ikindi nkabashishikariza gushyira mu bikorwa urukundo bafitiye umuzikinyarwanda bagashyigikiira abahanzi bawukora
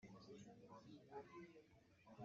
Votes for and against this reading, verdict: 0, 2, rejected